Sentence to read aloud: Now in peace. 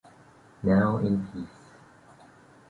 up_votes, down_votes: 0, 2